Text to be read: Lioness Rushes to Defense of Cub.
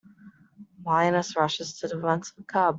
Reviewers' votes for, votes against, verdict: 1, 2, rejected